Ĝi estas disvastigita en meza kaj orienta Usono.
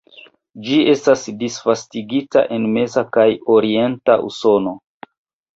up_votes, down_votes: 2, 0